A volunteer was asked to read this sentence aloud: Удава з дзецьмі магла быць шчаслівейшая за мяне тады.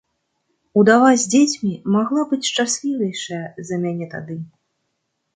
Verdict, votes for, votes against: accepted, 2, 0